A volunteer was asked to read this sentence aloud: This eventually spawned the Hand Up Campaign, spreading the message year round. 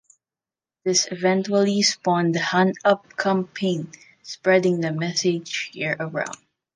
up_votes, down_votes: 1, 2